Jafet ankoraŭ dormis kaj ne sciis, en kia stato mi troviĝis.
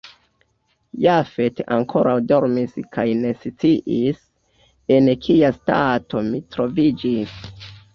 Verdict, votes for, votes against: rejected, 0, 2